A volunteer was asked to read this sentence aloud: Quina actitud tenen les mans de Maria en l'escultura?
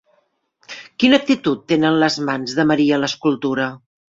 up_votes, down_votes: 1, 2